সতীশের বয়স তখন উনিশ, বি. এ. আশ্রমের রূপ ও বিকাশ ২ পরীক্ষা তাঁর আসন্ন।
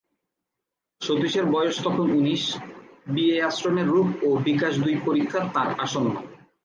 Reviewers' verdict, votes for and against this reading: rejected, 0, 2